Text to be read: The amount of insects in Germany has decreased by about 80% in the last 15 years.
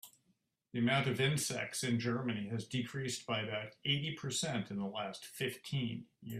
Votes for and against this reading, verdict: 0, 2, rejected